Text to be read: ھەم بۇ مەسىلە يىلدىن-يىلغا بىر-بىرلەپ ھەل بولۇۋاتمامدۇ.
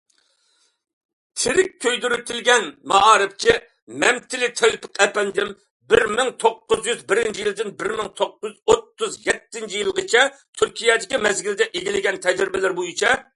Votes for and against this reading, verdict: 0, 2, rejected